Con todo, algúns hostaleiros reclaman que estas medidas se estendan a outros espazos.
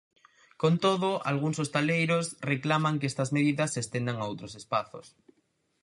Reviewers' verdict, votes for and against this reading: accepted, 4, 0